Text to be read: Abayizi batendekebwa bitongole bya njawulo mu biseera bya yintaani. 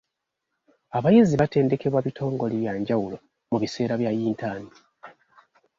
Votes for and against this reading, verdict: 2, 0, accepted